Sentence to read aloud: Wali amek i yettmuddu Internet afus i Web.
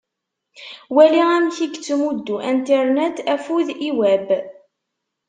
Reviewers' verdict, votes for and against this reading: rejected, 0, 2